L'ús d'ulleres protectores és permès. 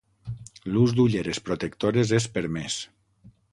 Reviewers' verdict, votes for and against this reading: accepted, 6, 0